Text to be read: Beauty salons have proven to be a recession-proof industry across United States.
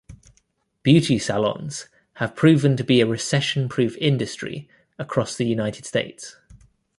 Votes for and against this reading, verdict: 1, 2, rejected